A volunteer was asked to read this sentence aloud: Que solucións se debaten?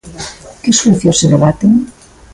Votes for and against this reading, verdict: 2, 0, accepted